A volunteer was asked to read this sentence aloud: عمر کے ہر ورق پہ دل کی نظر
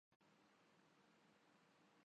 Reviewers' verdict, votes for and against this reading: rejected, 0, 2